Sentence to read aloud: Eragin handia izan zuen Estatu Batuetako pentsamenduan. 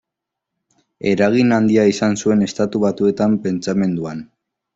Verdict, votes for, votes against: accepted, 2, 1